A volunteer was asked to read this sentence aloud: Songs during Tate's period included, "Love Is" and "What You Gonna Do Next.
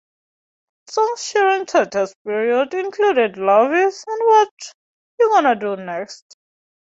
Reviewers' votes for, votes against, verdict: 0, 2, rejected